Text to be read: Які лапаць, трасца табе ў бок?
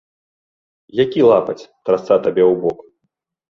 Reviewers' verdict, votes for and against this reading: rejected, 1, 2